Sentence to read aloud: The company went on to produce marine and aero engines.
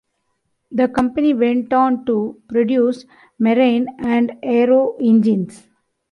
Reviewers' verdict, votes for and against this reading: accepted, 2, 0